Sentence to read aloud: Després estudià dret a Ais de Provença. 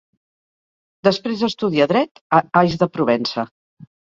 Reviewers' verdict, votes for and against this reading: accepted, 4, 0